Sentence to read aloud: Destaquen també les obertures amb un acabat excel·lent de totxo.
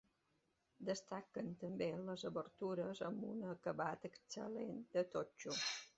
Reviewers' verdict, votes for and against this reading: accepted, 2, 0